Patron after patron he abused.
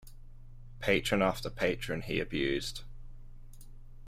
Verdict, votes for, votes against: accepted, 3, 0